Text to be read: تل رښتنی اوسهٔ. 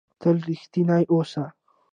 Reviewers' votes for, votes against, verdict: 2, 0, accepted